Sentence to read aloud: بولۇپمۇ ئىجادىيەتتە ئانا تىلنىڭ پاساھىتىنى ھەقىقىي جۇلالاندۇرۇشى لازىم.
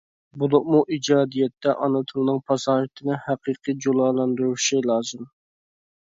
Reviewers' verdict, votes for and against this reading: accepted, 2, 0